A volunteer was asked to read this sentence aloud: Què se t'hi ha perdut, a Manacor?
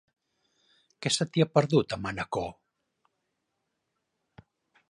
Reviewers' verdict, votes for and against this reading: accepted, 3, 0